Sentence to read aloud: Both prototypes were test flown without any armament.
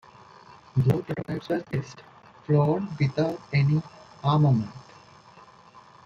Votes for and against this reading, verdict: 1, 2, rejected